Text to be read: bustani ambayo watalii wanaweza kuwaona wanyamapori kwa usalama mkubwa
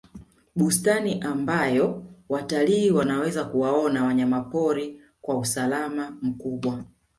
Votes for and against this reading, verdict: 2, 1, accepted